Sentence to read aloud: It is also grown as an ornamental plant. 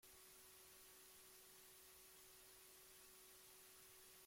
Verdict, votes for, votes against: rejected, 0, 3